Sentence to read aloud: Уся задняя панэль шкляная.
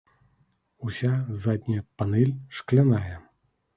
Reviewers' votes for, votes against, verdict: 2, 0, accepted